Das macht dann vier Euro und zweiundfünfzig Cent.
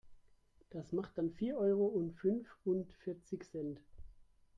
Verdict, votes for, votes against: rejected, 0, 3